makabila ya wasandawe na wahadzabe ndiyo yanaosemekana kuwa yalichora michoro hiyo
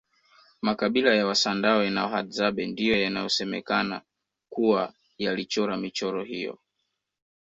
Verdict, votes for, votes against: rejected, 1, 2